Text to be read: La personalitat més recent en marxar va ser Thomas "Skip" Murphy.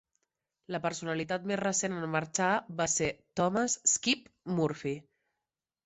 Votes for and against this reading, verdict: 2, 0, accepted